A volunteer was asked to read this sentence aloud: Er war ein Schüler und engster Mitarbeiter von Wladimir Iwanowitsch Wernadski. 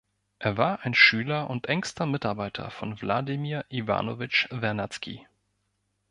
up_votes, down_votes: 2, 0